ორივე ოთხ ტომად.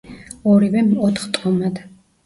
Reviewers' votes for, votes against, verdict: 0, 2, rejected